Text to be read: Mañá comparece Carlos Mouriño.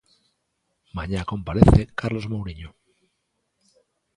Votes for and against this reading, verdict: 2, 0, accepted